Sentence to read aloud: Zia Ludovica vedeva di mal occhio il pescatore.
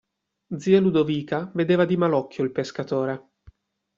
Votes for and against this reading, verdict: 2, 0, accepted